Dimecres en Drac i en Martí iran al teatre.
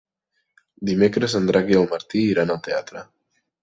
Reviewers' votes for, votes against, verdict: 1, 2, rejected